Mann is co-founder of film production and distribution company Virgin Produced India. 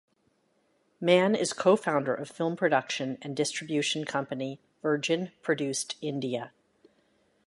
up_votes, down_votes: 2, 0